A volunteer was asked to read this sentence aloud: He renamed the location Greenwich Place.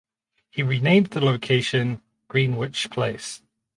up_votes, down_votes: 0, 2